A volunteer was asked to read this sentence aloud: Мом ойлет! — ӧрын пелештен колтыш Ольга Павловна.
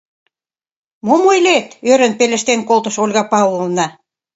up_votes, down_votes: 2, 0